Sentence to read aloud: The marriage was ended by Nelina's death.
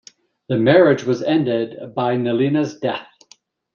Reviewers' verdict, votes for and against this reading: accepted, 2, 0